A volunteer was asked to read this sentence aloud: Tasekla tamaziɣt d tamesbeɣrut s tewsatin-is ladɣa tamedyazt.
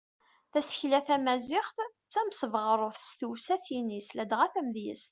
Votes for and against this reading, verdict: 2, 0, accepted